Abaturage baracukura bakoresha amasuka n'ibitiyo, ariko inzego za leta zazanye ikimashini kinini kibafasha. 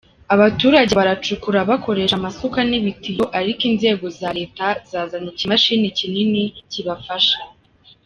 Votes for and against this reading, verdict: 2, 1, accepted